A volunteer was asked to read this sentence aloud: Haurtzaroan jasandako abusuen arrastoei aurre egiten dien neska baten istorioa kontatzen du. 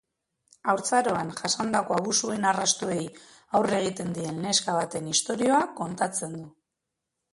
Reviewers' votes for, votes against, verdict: 2, 1, accepted